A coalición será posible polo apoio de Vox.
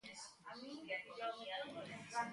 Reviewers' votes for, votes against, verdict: 0, 2, rejected